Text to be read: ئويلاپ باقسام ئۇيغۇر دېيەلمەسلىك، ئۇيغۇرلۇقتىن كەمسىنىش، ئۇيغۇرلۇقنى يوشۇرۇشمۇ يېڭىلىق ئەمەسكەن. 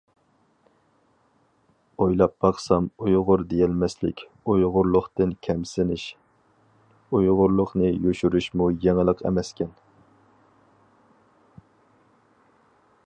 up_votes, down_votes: 4, 0